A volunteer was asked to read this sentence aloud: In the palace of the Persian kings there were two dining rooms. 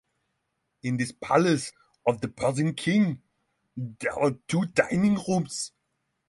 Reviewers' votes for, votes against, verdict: 0, 6, rejected